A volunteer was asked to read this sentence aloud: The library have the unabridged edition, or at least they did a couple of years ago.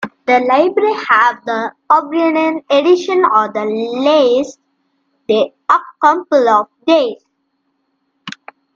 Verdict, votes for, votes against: rejected, 0, 2